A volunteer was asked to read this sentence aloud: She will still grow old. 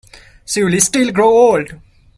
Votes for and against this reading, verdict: 1, 2, rejected